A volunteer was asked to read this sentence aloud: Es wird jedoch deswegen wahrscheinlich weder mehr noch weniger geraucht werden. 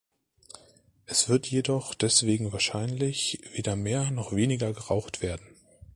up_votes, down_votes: 2, 0